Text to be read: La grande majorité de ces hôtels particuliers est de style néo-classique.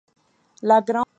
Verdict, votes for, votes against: rejected, 0, 2